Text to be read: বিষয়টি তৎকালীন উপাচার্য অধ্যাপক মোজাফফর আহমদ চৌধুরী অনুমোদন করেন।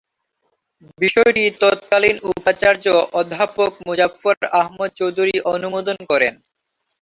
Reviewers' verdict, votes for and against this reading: rejected, 0, 2